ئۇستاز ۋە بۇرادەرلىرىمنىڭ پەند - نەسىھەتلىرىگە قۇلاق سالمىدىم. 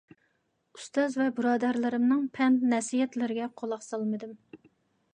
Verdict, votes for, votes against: accepted, 2, 0